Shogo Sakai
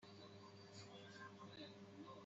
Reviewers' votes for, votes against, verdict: 0, 2, rejected